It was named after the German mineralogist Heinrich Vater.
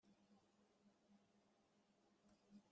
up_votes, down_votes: 0, 2